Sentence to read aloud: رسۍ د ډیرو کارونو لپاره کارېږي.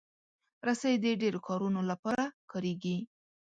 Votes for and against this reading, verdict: 2, 0, accepted